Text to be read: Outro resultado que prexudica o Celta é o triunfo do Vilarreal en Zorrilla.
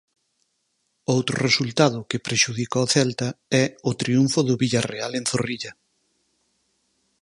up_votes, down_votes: 2, 4